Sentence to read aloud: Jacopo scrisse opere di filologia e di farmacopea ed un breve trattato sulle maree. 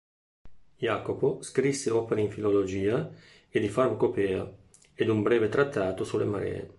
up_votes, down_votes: 1, 2